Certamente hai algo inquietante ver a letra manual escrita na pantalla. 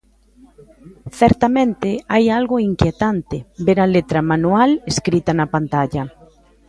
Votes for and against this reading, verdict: 1, 2, rejected